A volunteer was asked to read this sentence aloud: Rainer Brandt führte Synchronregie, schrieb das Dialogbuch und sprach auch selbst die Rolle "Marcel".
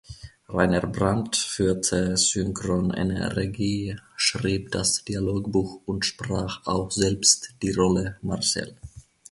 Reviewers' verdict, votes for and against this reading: rejected, 0, 2